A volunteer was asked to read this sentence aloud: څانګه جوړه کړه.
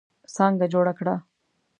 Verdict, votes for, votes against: accepted, 2, 0